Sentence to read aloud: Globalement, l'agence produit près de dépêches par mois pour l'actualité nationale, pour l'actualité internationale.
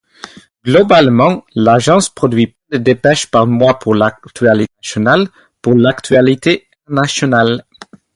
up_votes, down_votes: 2, 2